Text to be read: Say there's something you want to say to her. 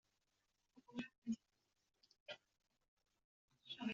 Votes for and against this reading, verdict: 0, 2, rejected